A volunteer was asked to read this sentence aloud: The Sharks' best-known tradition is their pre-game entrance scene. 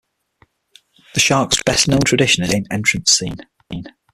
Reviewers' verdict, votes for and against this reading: rejected, 0, 6